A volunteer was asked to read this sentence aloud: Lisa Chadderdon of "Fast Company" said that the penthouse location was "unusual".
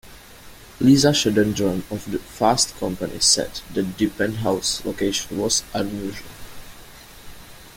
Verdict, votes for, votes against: rejected, 1, 2